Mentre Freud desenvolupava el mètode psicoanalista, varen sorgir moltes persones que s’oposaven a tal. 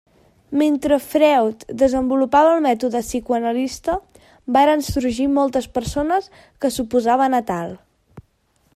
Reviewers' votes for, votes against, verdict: 1, 2, rejected